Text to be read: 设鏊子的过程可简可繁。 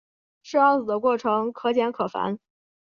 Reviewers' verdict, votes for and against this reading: accepted, 2, 0